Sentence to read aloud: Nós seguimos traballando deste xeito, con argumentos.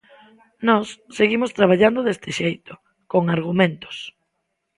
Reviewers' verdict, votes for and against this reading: accepted, 2, 0